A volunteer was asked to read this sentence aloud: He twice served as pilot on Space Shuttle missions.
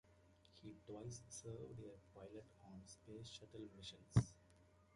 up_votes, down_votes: 1, 2